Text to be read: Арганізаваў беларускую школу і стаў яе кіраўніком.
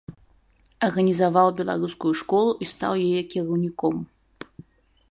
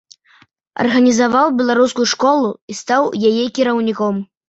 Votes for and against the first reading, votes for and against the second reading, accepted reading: 1, 2, 2, 0, second